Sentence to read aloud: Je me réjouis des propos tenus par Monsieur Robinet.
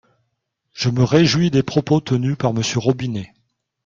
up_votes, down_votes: 3, 0